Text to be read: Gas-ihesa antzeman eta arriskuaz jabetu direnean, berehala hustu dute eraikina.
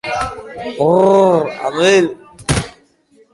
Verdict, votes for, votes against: rejected, 0, 2